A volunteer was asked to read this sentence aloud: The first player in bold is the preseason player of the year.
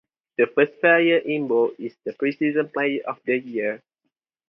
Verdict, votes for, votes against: accepted, 2, 0